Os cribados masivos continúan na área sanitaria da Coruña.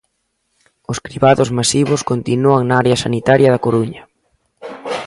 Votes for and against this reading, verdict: 2, 0, accepted